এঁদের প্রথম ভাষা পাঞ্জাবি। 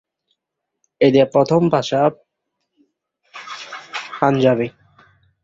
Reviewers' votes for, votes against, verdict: 1, 3, rejected